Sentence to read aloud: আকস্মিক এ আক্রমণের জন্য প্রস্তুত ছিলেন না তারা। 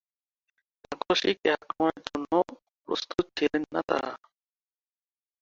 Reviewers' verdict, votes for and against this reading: rejected, 2, 5